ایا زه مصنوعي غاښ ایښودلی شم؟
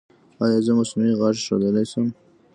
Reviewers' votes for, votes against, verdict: 3, 1, accepted